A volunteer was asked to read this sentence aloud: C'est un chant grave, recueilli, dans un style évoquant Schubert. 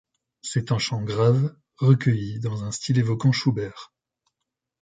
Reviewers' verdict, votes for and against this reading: accepted, 2, 0